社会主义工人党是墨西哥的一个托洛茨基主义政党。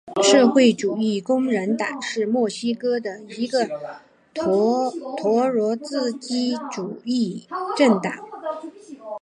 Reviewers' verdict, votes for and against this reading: accepted, 3, 0